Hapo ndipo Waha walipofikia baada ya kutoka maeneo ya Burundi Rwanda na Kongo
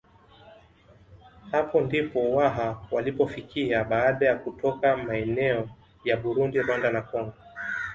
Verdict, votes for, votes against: accepted, 2, 0